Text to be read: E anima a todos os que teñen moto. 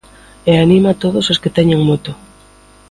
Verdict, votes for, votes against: accepted, 2, 0